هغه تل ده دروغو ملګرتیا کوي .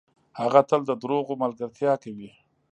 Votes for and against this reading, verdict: 2, 0, accepted